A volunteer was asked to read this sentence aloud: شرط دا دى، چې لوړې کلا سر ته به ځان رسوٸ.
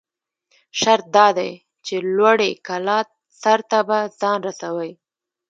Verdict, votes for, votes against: rejected, 1, 2